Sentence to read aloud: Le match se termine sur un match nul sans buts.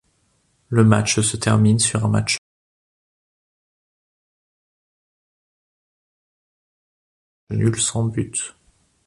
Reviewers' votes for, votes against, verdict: 0, 3, rejected